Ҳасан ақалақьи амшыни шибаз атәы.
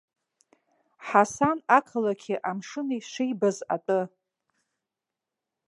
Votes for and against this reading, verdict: 2, 1, accepted